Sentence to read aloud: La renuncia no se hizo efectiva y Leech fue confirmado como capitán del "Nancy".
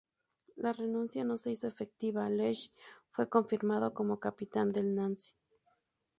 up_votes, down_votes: 2, 0